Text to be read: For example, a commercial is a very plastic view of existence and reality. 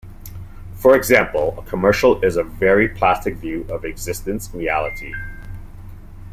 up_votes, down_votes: 2, 0